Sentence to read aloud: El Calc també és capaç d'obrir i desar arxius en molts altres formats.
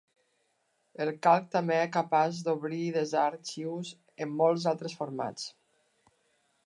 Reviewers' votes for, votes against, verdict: 0, 2, rejected